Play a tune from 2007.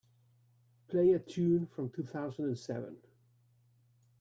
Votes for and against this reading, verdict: 0, 2, rejected